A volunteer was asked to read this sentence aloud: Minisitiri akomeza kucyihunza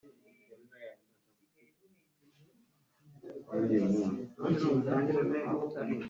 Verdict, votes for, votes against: rejected, 0, 3